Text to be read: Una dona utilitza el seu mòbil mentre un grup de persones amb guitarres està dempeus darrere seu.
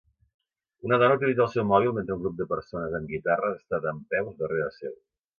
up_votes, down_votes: 2, 0